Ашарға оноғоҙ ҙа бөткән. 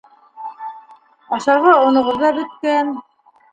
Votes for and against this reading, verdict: 1, 2, rejected